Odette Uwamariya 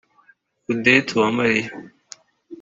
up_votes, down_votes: 3, 0